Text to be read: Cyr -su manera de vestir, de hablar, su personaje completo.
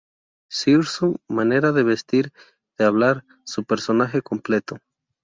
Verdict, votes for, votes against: rejected, 0, 2